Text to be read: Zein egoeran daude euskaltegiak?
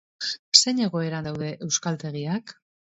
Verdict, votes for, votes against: rejected, 0, 2